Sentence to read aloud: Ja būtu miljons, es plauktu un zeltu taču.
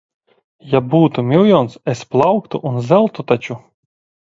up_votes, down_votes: 2, 0